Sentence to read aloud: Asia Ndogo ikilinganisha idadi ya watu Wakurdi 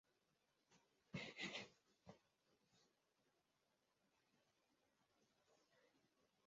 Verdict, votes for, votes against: rejected, 0, 2